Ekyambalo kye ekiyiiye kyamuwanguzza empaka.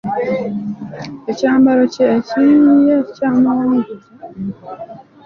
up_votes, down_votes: 0, 2